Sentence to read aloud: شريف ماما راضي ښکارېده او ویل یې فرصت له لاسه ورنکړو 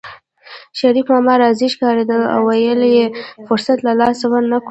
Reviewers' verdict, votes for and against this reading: rejected, 0, 2